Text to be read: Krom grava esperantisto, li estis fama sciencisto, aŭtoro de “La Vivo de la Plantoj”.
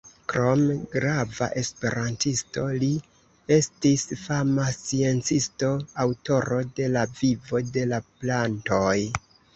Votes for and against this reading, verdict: 1, 2, rejected